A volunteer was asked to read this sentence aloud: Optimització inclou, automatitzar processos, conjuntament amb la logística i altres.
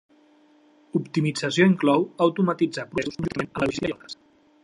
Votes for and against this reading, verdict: 0, 2, rejected